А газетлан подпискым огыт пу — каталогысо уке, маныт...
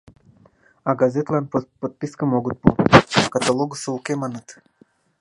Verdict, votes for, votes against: rejected, 1, 2